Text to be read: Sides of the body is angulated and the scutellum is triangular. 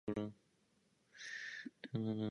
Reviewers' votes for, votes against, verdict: 0, 2, rejected